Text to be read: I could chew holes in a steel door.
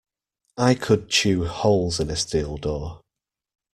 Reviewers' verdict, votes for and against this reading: accepted, 2, 0